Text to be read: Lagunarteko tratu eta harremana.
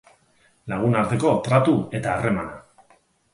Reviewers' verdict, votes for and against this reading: accepted, 10, 0